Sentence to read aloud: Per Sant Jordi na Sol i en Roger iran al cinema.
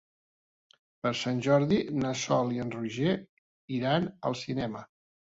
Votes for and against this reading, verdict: 4, 0, accepted